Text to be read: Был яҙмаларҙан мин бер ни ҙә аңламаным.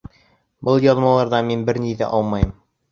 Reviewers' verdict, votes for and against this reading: rejected, 0, 2